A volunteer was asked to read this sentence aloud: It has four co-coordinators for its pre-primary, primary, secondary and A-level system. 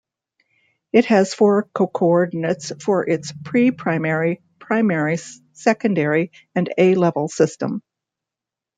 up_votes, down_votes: 0, 2